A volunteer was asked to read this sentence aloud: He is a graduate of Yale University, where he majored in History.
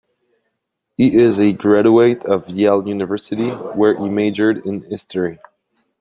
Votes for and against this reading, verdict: 2, 1, accepted